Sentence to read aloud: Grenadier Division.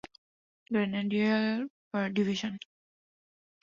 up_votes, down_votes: 2, 0